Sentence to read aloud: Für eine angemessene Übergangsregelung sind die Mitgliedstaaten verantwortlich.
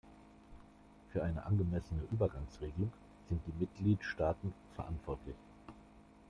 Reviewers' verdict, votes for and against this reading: accepted, 2, 0